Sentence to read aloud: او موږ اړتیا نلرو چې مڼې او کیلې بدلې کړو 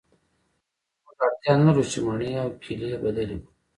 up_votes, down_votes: 1, 2